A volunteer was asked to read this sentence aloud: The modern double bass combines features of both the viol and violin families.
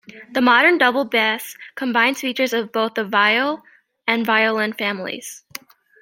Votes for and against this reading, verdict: 1, 2, rejected